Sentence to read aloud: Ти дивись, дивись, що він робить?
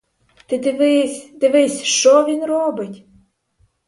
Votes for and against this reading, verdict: 4, 0, accepted